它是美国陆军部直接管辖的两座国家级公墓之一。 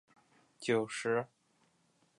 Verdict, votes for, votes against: rejected, 0, 2